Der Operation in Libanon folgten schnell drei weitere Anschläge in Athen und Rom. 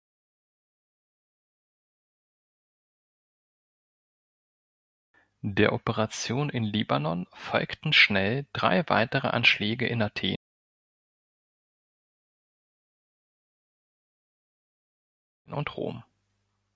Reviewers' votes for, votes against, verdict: 1, 2, rejected